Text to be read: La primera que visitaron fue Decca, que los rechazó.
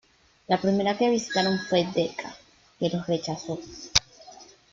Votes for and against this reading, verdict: 0, 2, rejected